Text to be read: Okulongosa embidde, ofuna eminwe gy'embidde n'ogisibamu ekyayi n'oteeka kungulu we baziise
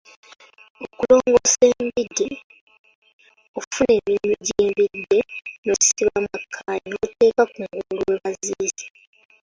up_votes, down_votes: 0, 2